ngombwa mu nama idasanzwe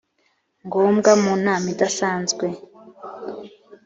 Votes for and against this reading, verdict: 3, 0, accepted